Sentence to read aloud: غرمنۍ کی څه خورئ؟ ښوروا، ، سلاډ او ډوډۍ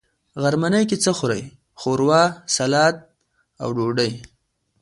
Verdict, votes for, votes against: accepted, 2, 0